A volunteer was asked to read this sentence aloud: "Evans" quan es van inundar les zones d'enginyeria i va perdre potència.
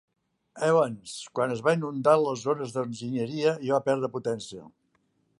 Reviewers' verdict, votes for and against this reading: accepted, 2, 0